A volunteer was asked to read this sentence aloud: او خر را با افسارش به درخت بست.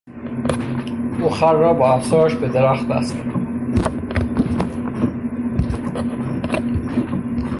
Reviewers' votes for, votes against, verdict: 0, 3, rejected